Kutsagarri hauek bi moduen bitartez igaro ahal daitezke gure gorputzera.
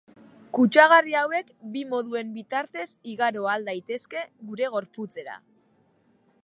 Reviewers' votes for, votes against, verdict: 2, 0, accepted